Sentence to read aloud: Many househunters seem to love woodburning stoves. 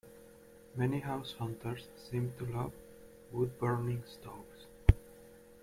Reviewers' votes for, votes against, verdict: 0, 2, rejected